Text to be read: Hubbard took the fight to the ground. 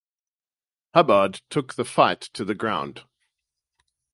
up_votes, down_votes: 4, 0